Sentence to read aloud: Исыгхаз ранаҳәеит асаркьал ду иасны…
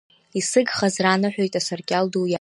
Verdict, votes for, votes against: rejected, 0, 2